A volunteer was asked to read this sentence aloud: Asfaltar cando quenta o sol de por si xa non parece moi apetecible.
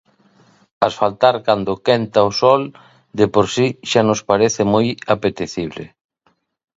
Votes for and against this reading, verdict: 0, 2, rejected